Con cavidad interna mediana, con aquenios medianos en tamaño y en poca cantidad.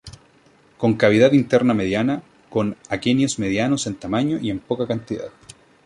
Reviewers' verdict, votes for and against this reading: accepted, 2, 0